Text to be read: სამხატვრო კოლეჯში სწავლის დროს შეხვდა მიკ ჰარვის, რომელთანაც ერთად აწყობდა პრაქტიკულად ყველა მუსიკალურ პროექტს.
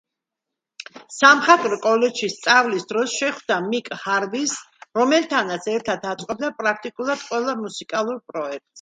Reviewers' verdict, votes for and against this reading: accepted, 2, 0